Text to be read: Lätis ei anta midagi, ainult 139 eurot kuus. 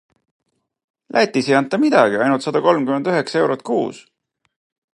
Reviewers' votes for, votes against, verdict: 0, 2, rejected